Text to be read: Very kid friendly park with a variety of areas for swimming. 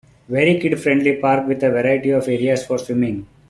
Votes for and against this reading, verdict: 2, 0, accepted